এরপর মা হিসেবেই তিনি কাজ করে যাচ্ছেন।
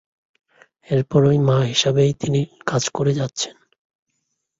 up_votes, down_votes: 0, 2